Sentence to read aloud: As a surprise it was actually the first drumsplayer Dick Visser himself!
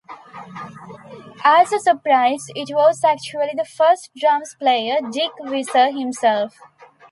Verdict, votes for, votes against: accepted, 2, 0